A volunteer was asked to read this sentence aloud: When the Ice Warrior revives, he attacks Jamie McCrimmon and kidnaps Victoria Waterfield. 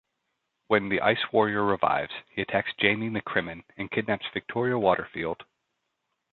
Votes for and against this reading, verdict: 2, 0, accepted